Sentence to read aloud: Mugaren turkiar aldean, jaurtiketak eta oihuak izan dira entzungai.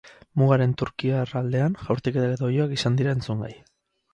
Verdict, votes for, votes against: accepted, 4, 2